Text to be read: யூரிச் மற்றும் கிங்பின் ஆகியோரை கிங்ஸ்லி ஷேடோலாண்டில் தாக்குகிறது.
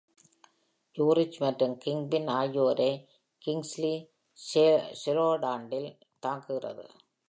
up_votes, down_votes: 0, 2